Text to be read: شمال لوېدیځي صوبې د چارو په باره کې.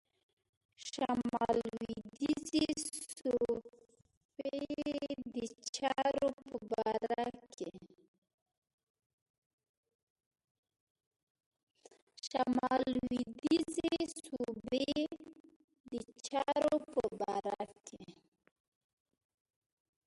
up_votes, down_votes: 0, 2